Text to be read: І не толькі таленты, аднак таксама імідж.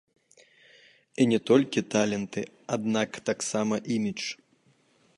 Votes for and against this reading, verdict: 2, 0, accepted